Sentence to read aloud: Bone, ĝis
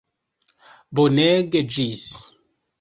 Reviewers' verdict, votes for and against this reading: rejected, 1, 2